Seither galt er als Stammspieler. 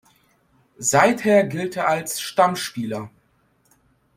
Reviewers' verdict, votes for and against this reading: rejected, 0, 2